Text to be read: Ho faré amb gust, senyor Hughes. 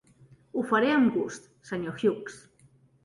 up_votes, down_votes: 2, 0